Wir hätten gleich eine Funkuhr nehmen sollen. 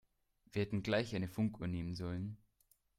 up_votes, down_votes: 2, 0